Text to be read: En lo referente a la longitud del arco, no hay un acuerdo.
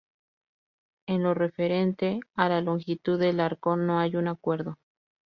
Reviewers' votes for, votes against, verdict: 0, 2, rejected